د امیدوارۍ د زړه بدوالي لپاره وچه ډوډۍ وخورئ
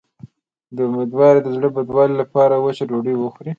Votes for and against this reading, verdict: 2, 1, accepted